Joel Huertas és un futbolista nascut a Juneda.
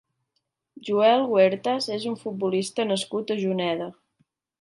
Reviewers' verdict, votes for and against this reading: accepted, 3, 1